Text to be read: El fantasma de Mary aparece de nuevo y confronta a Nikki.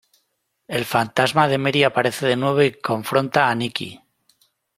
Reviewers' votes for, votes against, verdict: 1, 2, rejected